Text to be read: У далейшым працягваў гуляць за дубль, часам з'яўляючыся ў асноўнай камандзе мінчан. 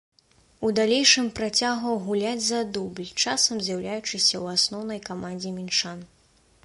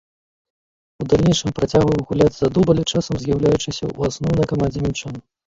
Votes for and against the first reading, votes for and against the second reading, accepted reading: 2, 0, 1, 2, first